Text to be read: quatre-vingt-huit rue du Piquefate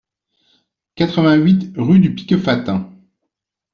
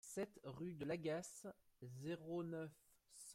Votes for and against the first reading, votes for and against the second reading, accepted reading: 2, 0, 0, 2, first